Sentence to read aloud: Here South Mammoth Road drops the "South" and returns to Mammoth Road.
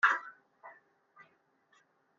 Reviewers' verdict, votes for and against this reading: rejected, 0, 2